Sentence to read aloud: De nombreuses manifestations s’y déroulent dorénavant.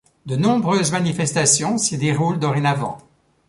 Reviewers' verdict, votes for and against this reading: accepted, 2, 0